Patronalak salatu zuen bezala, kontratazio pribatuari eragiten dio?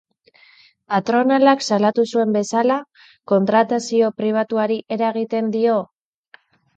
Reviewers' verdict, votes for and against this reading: accepted, 2, 0